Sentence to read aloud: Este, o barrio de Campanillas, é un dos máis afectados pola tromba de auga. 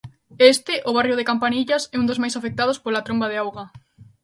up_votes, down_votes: 2, 0